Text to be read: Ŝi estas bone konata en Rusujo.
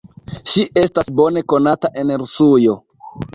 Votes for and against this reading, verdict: 1, 2, rejected